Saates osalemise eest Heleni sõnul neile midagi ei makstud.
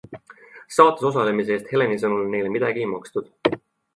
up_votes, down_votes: 2, 0